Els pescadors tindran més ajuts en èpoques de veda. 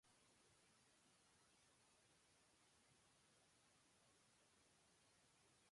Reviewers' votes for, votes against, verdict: 0, 3, rejected